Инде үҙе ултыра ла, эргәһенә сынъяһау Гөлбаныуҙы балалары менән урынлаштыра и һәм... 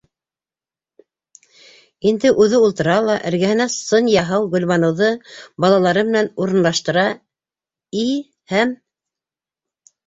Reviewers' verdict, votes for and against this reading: accepted, 2, 1